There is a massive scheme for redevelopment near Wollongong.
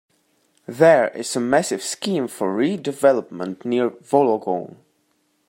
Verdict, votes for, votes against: accepted, 2, 1